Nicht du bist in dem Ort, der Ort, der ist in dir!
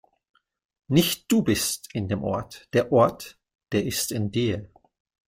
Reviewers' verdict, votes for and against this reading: accepted, 2, 0